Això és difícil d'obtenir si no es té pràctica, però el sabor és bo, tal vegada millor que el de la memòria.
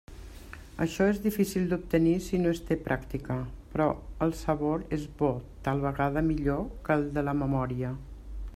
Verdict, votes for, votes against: accepted, 3, 0